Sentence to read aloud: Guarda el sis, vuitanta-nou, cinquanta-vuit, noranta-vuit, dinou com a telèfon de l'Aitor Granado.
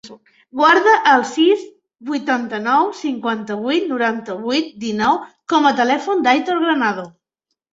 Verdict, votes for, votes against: rejected, 0, 2